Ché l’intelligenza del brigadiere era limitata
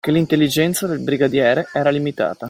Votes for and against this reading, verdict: 2, 0, accepted